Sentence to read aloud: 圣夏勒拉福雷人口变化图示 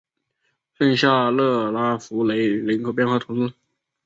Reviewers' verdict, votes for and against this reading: accepted, 2, 0